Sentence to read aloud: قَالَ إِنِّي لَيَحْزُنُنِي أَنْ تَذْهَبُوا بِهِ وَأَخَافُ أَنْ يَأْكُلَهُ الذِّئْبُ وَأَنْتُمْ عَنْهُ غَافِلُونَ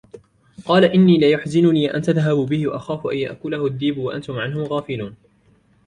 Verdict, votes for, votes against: rejected, 0, 2